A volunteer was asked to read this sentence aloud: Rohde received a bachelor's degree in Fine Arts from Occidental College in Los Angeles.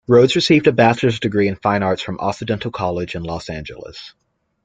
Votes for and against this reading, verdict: 2, 0, accepted